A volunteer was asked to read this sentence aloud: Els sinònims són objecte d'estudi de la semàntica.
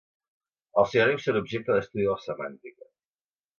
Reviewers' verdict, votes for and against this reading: rejected, 0, 2